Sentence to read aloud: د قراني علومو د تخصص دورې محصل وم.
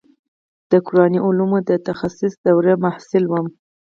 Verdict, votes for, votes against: accepted, 4, 0